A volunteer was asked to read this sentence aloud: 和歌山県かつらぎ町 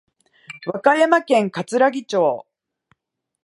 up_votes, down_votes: 3, 0